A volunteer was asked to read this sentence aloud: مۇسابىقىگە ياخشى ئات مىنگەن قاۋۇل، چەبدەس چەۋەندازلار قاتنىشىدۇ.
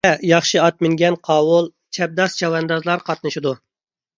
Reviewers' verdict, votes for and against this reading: rejected, 0, 2